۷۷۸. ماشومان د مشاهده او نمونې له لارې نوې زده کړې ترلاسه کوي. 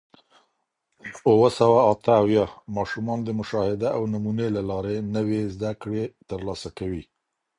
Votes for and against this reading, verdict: 0, 2, rejected